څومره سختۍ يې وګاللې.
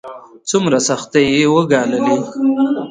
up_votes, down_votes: 2, 1